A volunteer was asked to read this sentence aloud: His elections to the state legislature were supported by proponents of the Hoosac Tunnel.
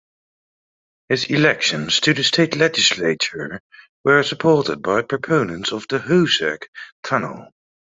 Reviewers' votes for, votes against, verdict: 2, 0, accepted